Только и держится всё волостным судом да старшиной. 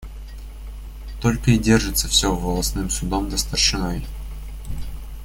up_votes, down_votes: 2, 0